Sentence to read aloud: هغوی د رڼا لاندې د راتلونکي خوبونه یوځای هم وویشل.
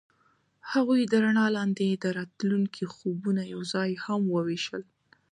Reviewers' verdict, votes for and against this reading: accepted, 2, 0